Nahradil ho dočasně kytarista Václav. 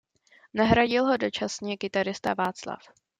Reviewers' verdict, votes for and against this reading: accepted, 2, 0